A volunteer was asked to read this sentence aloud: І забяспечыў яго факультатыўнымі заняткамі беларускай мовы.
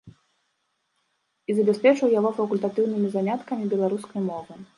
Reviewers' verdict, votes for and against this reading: accepted, 2, 0